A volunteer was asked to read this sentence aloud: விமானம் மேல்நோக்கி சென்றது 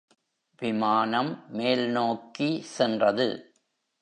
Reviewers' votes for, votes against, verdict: 2, 0, accepted